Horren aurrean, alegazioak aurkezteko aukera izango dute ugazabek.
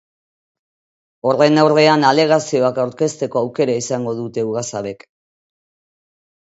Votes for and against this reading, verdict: 0, 2, rejected